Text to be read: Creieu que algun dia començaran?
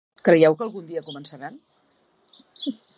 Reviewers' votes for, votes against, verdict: 0, 2, rejected